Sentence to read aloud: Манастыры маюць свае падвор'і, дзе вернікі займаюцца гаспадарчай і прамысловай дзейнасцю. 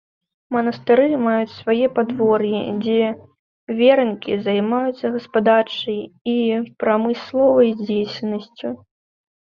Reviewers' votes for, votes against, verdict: 0, 2, rejected